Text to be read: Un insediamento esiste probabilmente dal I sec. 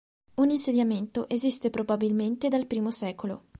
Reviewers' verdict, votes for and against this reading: accepted, 2, 1